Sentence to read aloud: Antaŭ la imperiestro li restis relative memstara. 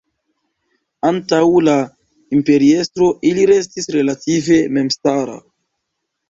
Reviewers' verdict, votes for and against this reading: rejected, 1, 2